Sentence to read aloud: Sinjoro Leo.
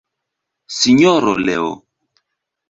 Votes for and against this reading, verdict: 1, 2, rejected